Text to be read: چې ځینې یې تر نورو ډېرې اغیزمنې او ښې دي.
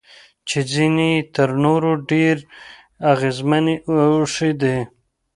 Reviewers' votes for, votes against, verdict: 2, 0, accepted